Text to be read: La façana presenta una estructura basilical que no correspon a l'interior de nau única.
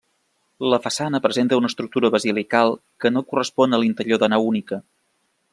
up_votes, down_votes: 2, 0